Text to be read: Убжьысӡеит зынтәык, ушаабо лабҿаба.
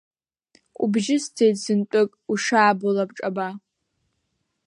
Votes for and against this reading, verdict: 2, 0, accepted